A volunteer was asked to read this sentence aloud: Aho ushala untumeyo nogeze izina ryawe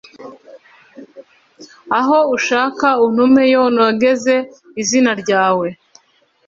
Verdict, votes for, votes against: rejected, 0, 2